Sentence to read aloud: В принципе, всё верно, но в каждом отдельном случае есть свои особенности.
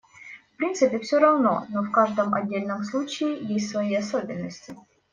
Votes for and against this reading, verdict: 0, 2, rejected